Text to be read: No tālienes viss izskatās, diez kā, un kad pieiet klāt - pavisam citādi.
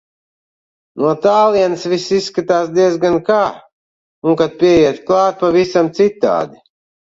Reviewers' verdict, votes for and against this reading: rejected, 0, 2